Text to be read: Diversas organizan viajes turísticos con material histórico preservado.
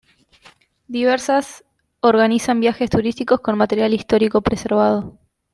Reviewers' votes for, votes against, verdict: 2, 0, accepted